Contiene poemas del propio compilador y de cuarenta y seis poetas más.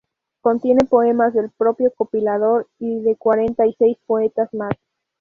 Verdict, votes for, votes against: rejected, 0, 2